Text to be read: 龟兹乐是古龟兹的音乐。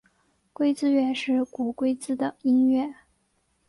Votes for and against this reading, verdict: 2, 0, accepted